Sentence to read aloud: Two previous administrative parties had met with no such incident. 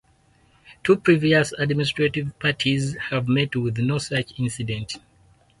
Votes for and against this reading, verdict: 0, 4, rejected